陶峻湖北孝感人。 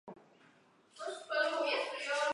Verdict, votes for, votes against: rejected, 0, 2